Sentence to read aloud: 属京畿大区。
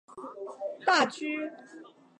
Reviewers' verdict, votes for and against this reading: rejected, 1, 3